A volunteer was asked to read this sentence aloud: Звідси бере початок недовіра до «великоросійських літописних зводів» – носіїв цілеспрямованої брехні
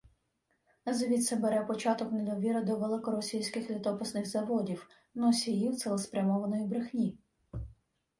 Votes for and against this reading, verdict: 1, 2, rejected